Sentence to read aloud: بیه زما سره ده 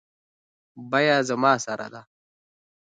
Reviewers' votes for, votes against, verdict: 2, 0, accepted